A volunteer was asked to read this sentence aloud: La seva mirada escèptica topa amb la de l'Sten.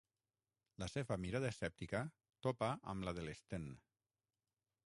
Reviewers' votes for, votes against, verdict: 3, 6, rejected